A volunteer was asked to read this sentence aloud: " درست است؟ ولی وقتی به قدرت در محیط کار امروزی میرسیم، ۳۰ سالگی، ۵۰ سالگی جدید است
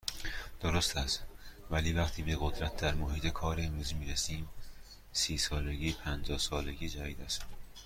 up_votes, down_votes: 0, 2